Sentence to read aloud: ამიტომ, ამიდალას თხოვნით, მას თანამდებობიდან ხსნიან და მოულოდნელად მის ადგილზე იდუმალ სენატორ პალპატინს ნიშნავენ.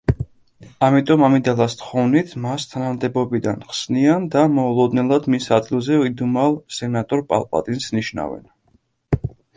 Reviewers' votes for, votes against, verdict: 2, 0, accepted